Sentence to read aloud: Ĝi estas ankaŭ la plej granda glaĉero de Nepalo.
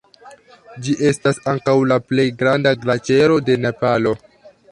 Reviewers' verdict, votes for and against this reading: rejected, 1, 2